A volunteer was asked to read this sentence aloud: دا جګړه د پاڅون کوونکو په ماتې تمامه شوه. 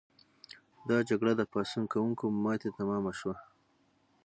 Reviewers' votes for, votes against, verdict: 0, 6, rejected